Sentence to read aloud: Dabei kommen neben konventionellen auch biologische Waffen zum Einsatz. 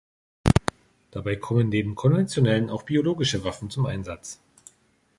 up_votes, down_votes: 3, 0